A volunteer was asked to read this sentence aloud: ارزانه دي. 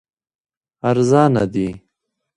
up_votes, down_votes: 2, 1